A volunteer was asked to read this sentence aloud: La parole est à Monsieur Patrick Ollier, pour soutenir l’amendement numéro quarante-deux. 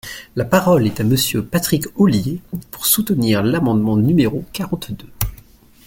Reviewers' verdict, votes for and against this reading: accepted, 2, 0